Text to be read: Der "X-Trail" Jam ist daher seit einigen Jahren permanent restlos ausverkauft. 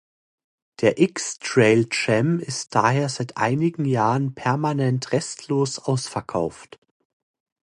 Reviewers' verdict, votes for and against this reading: accepted, 2, 0